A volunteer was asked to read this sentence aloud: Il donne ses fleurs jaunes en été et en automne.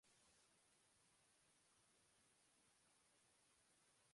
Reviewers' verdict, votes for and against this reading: rejected, 1, 2